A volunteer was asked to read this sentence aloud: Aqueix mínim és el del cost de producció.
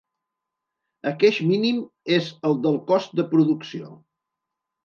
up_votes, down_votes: 2, 0